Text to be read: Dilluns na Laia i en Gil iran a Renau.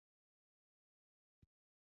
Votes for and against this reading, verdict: 1, 3, rejected